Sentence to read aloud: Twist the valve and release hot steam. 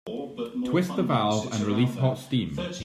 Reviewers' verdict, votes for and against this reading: rejected, 0, 2